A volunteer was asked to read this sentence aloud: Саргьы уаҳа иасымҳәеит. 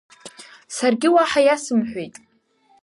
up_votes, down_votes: 3, 0